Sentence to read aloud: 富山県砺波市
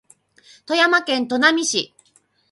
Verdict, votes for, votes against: rejected, 2, 2